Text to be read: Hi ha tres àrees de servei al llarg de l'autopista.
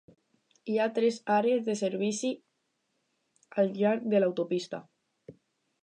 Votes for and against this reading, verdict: 2, 2, rejected